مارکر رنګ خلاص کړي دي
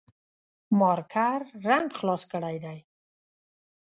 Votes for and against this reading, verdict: 3, 0, accepted